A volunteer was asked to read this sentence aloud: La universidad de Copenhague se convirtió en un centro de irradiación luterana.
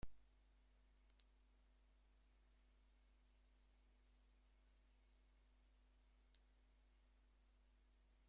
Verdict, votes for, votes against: rejected, 0, 2